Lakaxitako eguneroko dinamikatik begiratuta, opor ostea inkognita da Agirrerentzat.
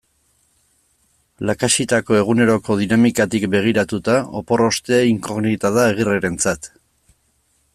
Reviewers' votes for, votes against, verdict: 2, 0, accepted